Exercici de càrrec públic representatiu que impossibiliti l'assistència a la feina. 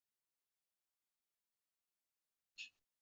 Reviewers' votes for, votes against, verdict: 0, 3, rejected